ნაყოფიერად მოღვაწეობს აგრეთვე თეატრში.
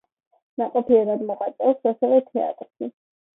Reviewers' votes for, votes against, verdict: 2, 1, accepted